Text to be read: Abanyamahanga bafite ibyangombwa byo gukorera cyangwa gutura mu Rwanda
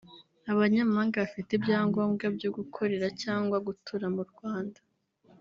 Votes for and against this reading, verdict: 3, 0, accepted